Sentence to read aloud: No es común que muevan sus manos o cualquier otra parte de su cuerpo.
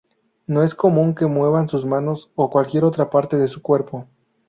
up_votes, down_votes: 2, 0